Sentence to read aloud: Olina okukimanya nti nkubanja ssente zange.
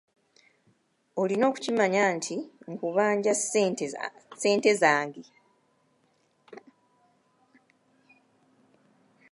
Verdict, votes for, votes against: rejected, 1, 2